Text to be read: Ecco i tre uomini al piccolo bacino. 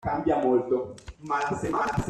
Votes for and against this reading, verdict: 0, 2, rejected